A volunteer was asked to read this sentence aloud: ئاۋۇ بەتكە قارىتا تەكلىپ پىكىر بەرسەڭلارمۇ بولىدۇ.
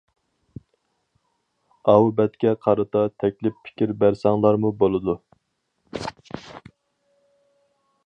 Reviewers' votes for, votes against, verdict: 4, 0, accepted